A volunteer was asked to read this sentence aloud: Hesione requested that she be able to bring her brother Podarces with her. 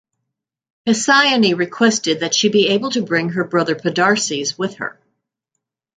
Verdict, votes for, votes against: accepted, 2, 0